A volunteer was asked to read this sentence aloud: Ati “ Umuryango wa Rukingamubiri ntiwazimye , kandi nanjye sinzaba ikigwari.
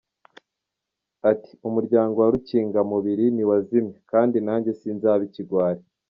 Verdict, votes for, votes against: accepted, 3, 0